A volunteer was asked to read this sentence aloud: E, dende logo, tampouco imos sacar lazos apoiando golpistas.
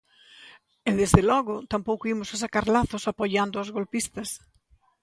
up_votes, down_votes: 0, 3